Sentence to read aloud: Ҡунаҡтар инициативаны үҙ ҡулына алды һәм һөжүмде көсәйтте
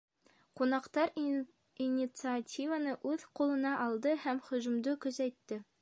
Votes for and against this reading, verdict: 1, 2, rejected